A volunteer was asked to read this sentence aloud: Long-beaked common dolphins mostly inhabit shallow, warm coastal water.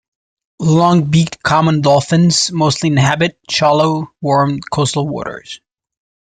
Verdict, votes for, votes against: rejected, 0, 2